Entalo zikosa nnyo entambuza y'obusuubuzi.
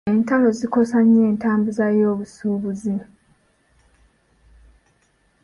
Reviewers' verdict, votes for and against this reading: accepted, 2, 0